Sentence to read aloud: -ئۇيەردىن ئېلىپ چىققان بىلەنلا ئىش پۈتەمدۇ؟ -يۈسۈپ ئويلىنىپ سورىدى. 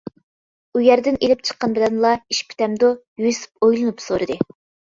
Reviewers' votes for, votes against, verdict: 2, 0, accepted